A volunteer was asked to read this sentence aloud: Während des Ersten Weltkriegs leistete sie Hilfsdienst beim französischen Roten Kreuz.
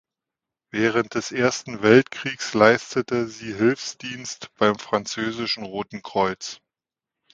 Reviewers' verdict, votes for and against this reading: accepted, 2, 0